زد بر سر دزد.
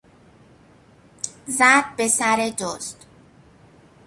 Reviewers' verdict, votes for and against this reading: rejected, 1, 2